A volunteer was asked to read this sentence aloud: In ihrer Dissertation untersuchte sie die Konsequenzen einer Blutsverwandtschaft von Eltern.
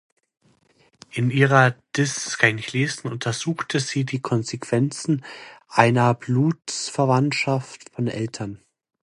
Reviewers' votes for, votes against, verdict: 0, 2, rejected